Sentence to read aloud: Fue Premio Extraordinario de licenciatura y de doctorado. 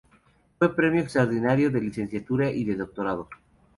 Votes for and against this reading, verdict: 2, 0, accepted